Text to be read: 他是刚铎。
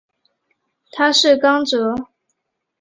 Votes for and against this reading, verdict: 2, 0, accepted